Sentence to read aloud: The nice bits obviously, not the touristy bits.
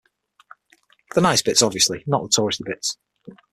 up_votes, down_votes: 0, 6